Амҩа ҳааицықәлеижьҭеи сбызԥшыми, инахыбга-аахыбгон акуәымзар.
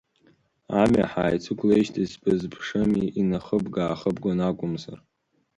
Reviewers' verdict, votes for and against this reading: accepted, 2, 0